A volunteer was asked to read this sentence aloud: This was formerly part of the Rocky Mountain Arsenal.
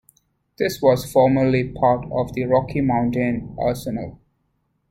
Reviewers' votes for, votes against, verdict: 2, 0, accepted